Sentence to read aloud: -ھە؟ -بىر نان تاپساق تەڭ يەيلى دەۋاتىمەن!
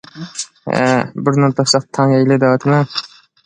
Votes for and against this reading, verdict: 1, 2, rejected